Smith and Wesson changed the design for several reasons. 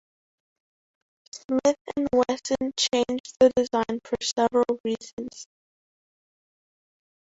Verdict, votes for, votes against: accepted, 2, 1